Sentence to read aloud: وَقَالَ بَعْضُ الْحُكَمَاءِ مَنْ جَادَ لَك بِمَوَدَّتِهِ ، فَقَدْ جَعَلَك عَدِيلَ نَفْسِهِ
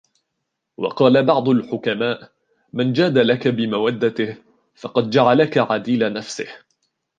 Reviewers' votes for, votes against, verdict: 2, 0, accepted